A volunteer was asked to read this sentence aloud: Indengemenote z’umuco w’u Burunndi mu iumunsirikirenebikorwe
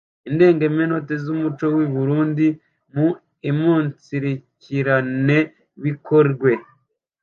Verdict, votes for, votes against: rejected, 0, 2